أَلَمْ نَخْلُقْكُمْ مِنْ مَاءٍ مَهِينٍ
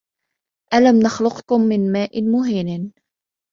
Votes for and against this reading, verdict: 0, 2, rejected